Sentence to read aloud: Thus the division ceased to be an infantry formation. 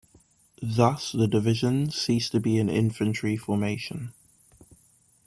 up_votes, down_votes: 2, 0